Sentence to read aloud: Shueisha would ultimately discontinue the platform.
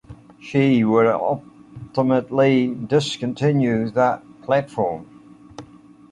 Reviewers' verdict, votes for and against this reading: rejected, 0, 2